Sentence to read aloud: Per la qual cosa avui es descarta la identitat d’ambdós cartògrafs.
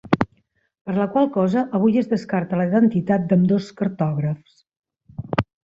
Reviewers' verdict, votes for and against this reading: accepted, 2, 0